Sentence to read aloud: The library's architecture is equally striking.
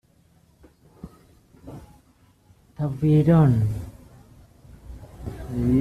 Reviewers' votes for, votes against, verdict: 0, 2, rejected